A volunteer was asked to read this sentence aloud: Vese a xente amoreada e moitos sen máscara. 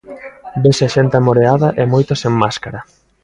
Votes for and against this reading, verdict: 3, 0, accepted